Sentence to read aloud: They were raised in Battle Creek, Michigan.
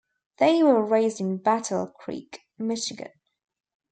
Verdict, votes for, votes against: accepted, 2, 0